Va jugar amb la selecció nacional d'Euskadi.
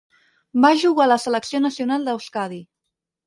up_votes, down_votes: 2, 4